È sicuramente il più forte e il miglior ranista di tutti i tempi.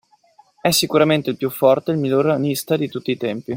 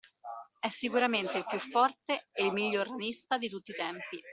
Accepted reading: first